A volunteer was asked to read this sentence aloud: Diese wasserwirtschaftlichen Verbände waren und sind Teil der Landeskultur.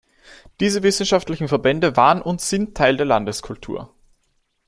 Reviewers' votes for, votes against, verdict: 1, 2, rejected